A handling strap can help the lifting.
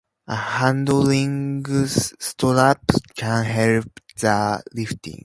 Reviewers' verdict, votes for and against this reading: accepted, 2, 0